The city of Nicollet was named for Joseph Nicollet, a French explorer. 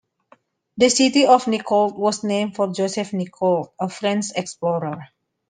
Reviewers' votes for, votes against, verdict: 2, 1, accepted